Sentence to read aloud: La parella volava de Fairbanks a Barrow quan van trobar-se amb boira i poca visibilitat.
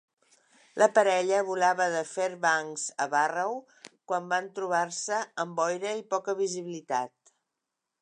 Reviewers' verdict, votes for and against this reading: accepted, 2, 0